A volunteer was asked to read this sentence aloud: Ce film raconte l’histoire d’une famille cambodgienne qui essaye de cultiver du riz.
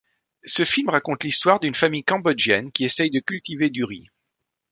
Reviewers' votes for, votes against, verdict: 2, 0, accepted